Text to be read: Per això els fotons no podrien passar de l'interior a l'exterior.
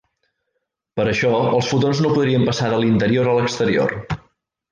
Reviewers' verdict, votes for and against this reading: rejected, 1, 2